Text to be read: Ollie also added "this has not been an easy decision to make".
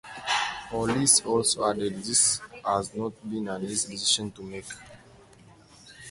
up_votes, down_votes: 0, 2